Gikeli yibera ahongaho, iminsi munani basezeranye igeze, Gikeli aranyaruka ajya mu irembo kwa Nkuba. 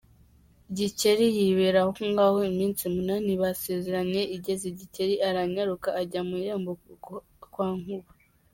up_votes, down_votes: 1, 2